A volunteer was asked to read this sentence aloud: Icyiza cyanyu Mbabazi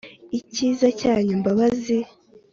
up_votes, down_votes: 3, 0